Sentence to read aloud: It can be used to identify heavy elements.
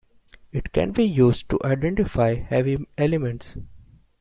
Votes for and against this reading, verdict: 2, 0, accepted